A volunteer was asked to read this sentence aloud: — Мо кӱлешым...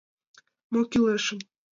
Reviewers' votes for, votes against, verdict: 2, 0, accepted